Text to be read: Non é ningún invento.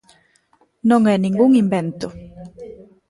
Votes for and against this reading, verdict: 0, 2, rejected